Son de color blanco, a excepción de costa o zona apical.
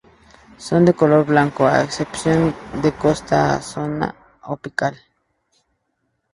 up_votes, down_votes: 0, 2